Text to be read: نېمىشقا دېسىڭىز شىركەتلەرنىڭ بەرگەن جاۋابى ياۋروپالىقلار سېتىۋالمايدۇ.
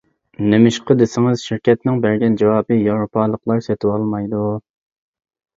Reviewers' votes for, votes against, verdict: 0, 2, rejected